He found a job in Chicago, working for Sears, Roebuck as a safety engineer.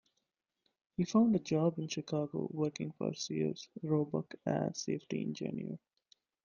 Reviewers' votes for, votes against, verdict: 1, 2, rejected